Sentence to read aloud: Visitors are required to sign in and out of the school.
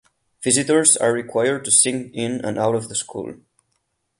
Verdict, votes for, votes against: rejected, 4, 12